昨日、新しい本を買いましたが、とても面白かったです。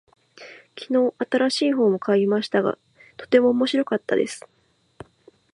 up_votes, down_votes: 2, 0